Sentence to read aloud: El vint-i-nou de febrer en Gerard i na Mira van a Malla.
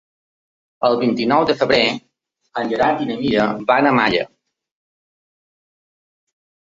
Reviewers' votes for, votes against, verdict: 3, 0, accepted